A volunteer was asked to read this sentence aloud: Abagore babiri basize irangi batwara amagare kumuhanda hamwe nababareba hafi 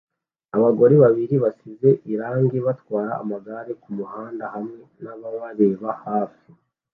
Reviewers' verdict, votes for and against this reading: accepted, 2, 0